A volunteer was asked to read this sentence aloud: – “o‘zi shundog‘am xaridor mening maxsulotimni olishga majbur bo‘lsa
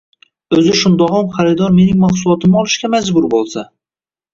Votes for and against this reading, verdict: 0, 2, rejected